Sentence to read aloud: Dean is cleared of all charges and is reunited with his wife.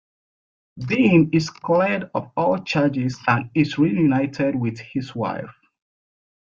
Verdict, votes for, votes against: rejected, 1, 2